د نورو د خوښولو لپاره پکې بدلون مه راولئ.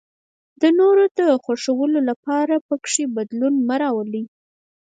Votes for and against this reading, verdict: 4, 2, accepted